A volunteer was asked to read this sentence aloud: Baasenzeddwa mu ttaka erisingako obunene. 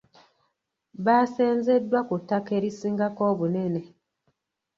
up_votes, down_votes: 0, 2